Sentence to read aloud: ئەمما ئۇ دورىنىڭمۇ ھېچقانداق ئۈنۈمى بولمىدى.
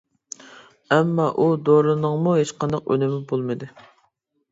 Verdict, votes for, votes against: accepted, 3, 0